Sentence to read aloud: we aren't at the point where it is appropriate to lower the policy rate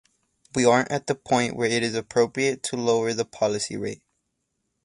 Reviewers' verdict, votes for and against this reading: accepted, 4, 0